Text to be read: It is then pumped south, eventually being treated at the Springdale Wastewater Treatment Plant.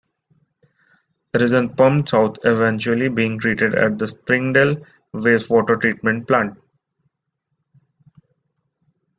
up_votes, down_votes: 2, 0